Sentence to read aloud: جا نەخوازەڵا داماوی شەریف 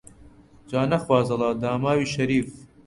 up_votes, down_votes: 2, 0